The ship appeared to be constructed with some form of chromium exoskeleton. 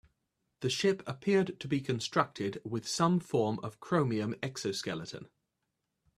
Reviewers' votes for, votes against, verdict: 2, 0, accepted